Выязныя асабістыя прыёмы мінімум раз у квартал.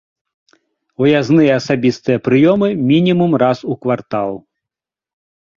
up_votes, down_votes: 2, 0